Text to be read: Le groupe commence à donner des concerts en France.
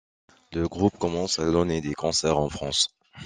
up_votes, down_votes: 2, 0